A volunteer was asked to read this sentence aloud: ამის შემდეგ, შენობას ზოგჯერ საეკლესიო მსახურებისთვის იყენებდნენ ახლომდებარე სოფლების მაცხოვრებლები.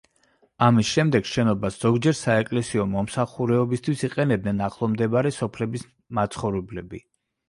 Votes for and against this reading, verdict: 0, 2, rejected